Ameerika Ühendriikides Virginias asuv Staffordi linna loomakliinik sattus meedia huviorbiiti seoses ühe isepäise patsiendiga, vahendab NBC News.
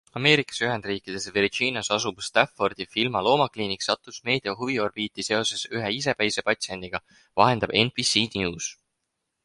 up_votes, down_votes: 2, 6